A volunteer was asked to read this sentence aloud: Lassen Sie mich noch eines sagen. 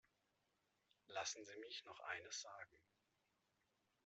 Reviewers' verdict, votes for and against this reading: rejected, 0, 2